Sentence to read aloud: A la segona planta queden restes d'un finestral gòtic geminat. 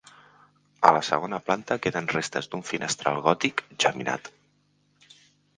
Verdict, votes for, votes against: accepted, 2, 0